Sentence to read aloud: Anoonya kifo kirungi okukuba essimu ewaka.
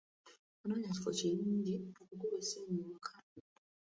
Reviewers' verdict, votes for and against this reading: accepted, 2, 1